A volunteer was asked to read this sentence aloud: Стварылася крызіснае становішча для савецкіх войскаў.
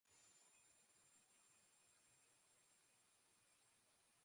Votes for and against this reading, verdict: 0, 2, rejected